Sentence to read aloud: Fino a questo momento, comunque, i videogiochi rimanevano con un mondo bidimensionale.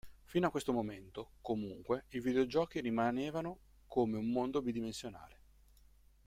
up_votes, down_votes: 0, 2